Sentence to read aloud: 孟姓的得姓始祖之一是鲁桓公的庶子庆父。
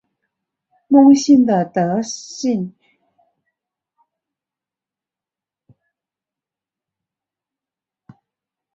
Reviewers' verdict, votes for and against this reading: rejected, 0, 4